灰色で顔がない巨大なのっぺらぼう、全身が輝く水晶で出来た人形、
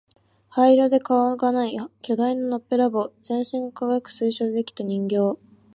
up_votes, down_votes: 2, 1